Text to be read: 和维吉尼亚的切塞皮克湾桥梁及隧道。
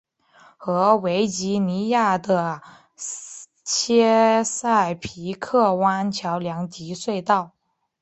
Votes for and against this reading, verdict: 2, 0, accepted